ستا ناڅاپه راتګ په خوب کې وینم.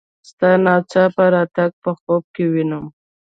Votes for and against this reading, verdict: 2, 0, accepted